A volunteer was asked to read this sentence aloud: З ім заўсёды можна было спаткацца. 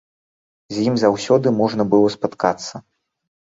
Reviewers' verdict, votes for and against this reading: accepted, 2, 0